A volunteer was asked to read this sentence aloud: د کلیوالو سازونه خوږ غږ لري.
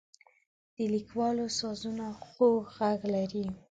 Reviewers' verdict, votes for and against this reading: rejected, 1, 2